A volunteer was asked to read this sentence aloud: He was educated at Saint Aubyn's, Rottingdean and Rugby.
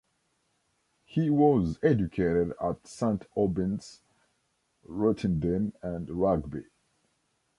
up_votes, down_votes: 0, 2